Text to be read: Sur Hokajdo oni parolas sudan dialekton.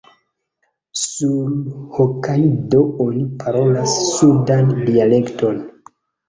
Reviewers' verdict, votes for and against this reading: accepted, 2, 0